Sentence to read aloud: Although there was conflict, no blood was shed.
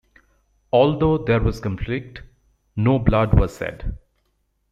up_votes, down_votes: 2, 1